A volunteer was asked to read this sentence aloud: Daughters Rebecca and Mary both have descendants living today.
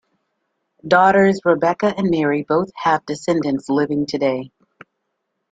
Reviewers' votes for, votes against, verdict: 2, 0, accepted